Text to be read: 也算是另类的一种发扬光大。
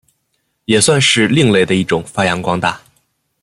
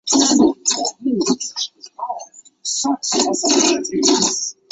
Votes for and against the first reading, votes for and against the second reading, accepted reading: 2, 0, 0, 2, first